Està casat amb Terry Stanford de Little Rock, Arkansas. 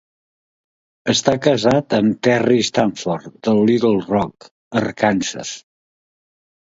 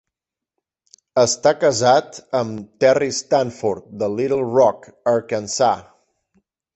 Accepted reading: first